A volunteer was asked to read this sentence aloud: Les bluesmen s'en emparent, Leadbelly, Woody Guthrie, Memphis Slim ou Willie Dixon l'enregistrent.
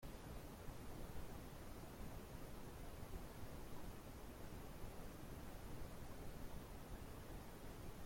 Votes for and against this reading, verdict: 0, 2, rejected